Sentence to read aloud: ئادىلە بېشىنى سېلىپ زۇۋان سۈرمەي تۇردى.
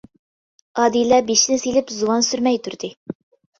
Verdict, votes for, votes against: accepted, 2, 0